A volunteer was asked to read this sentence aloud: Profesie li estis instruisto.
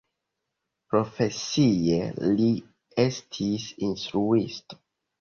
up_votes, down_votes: 2, 0